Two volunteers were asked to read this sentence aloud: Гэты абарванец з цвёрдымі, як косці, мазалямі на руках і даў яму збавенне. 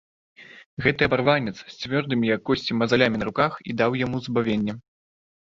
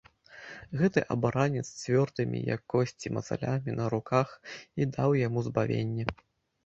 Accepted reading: first